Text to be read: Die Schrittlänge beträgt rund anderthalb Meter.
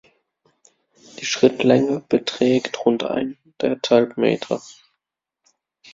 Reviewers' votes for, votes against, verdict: 0, 2, rejected